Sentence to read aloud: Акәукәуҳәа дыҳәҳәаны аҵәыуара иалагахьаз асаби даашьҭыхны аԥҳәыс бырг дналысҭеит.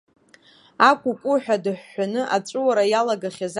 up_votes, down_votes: 1, 2